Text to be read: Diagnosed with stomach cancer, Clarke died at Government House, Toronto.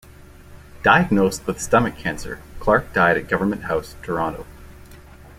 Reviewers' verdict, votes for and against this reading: accepted, 2, 0